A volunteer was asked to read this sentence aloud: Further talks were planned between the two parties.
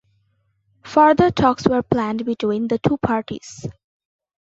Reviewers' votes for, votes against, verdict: 2, 0, accepted